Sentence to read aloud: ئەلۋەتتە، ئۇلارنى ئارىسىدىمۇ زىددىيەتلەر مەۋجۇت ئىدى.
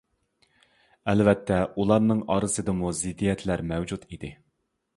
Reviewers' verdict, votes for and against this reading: accepted, 2, 0